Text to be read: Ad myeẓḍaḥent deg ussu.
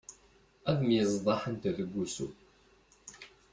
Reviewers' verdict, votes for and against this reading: rejected, 1, 2